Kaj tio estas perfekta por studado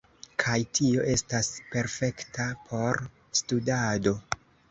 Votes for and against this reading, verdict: 2, 0, accepted